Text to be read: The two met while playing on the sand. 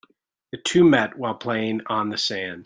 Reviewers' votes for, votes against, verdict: 1, 2, rejected